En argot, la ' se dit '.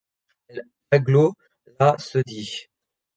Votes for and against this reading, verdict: 0, 2, rejected